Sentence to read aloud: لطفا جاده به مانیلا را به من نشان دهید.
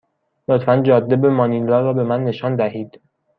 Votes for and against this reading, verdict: 1, 2, rejected